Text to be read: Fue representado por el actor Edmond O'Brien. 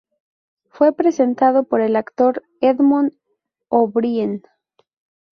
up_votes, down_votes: 0, 2